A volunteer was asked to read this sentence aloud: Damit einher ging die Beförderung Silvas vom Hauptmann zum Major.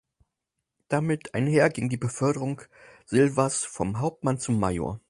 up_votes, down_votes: 4, 0